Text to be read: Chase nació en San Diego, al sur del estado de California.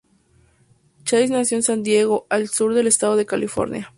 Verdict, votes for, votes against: accepted, 2, 0